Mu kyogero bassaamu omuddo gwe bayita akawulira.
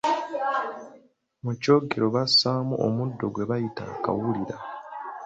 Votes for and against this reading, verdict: 2, 0, accepted